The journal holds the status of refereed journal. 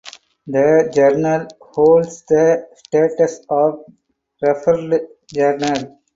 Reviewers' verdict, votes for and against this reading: rejected, 0, 2